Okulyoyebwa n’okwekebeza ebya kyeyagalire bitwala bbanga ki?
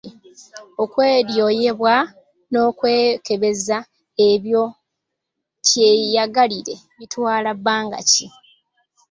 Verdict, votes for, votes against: rejected, 0, 2